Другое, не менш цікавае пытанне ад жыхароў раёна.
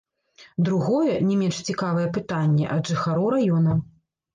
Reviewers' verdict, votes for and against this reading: rejected, 1, 2